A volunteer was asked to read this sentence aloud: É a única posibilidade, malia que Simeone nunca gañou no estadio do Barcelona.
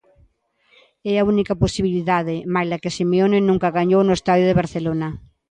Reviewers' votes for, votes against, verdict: 2, 1, accepted